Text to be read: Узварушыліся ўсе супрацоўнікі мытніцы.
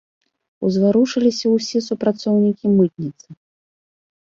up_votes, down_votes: 0, 2